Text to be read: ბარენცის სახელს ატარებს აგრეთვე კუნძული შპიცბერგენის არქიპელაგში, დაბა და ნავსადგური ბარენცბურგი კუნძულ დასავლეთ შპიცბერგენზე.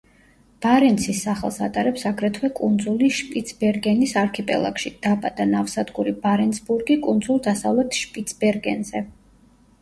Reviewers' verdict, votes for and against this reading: accepted, 2, 0